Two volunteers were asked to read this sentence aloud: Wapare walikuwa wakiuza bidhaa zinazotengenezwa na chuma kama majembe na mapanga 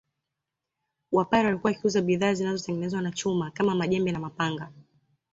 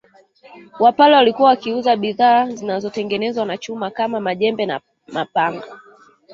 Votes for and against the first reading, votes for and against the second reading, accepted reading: 2, 0, 1, 2, first